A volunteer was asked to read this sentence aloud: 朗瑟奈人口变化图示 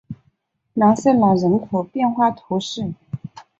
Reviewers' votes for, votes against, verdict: 5, 0, accepted